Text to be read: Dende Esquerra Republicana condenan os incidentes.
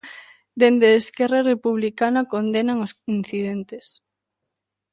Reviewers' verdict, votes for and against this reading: accepted, 2, 1